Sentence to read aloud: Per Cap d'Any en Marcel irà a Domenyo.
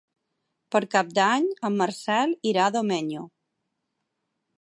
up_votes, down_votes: 12, 0